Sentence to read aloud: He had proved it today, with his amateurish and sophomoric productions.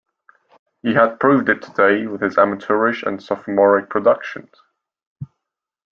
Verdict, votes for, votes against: accepted, 2, 0